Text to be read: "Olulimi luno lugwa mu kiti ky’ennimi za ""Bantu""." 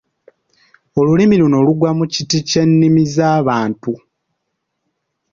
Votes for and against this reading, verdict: 2, 0, accepted